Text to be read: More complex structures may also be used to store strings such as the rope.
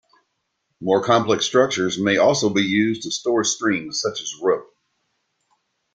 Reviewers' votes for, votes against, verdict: 2, 0, accepted